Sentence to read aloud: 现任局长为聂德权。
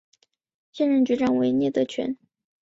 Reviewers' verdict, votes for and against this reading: accepted, 2, 0